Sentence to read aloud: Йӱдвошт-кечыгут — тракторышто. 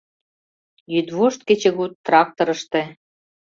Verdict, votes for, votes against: rejected, 0, 2